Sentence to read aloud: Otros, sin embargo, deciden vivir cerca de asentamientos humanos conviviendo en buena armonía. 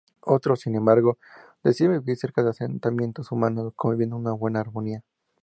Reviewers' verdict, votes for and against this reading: rejected, 0, 2